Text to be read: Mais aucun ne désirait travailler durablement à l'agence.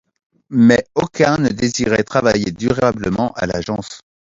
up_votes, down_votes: 2, 0